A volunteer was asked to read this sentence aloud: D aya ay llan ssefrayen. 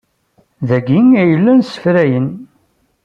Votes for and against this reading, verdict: 1, 2, rejected